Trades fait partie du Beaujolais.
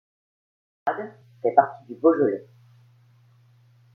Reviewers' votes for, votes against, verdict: 0, 2, rejected